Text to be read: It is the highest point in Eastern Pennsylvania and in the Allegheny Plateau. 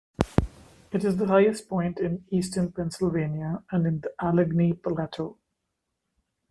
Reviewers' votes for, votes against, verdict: 2, 0, accepted